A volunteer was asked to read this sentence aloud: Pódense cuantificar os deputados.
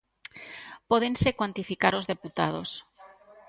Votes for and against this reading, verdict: 2, 0, accepted